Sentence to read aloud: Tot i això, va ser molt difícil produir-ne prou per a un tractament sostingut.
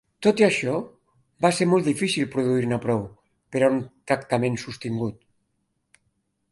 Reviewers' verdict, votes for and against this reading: rejected, 2, 3